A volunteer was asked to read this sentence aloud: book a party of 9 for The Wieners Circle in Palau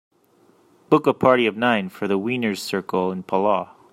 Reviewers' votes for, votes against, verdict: 0, 2, rejected